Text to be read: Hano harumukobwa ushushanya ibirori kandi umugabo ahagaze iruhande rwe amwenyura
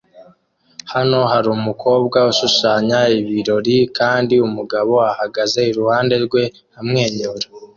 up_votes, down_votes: 2, 0